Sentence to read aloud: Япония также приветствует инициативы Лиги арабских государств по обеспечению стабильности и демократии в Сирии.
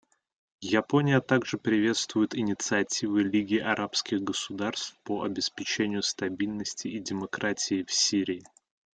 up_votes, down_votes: 2, 1